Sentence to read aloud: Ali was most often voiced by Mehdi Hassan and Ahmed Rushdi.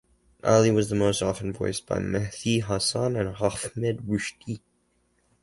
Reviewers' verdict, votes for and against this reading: rejected, 2, 2